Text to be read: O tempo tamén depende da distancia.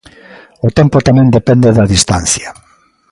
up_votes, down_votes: 2, 0